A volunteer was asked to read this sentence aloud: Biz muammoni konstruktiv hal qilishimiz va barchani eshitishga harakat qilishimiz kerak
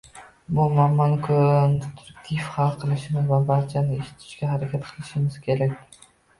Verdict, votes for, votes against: rejected, 0, 2